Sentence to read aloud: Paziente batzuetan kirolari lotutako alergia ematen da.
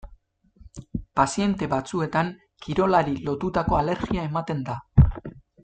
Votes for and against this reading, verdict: 2, 0, accepted